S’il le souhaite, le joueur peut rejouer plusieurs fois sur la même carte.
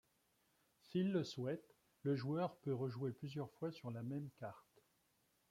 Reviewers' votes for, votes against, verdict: 2, 0, accepted